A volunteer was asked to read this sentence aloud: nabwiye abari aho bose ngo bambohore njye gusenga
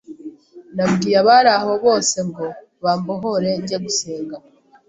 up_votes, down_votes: 2, 0